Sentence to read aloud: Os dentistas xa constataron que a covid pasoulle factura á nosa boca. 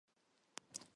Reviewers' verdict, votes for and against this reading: rejected, 0, 4